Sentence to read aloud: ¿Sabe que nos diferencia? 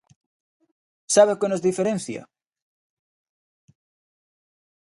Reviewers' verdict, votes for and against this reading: rejected, 0, 2